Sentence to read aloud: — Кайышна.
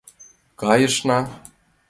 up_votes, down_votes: 2, 0